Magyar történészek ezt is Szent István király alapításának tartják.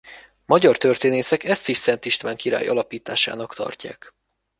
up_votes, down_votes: 2, 0